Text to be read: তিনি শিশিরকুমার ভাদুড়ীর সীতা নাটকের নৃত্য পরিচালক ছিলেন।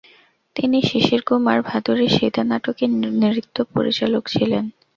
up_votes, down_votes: 0, 2